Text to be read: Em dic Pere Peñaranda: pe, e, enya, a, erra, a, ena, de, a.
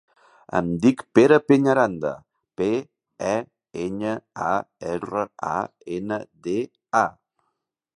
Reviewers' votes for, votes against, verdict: 3, 0, accepted